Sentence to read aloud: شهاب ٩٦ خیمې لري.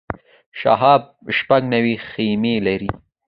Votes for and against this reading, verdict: 0, 2, rejected